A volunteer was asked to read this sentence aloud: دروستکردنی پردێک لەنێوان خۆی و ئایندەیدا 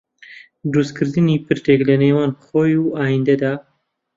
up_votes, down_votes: 0, 2